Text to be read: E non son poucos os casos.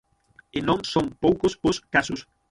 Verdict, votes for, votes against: rejected, 0, 6